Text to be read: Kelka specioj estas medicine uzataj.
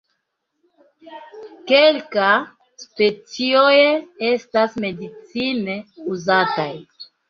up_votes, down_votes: 1, 2